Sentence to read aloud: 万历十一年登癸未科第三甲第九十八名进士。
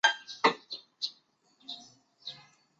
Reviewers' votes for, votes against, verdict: 0, 3, rejected